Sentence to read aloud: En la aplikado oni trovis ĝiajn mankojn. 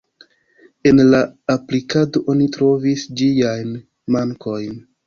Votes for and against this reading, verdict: 2, 0, accepted